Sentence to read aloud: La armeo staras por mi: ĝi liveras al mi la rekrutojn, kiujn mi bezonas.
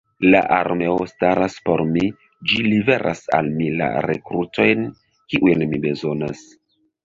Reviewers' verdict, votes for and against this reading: accepted, 2, 1